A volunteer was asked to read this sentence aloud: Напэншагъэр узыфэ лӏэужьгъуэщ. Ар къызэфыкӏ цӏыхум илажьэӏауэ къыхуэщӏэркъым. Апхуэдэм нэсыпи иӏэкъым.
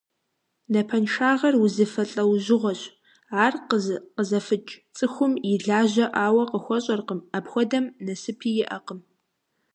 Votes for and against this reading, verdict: 1, 2, rejected